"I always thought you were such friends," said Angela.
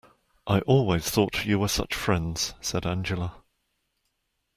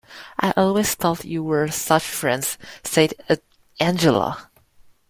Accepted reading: first